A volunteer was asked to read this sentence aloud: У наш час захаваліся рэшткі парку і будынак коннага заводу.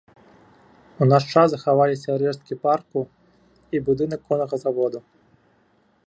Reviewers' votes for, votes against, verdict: 2, 0, accepted